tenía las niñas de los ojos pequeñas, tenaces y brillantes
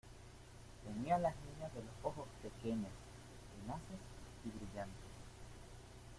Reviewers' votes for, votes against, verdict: 1, 2, rejected